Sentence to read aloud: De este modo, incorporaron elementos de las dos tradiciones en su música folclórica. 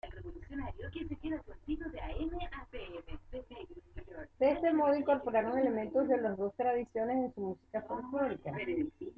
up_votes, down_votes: 0, 2